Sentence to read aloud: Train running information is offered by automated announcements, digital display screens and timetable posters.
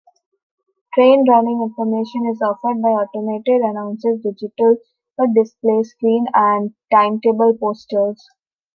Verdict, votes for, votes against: rejected, 0, 2